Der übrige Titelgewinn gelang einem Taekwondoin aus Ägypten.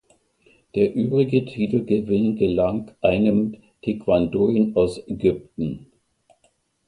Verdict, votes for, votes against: accepted, 2, 0